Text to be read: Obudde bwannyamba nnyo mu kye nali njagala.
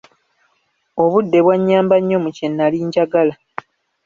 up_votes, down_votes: 2, 0